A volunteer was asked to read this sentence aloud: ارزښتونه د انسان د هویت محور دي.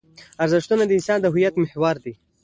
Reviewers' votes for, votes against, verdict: 2, 0, accepted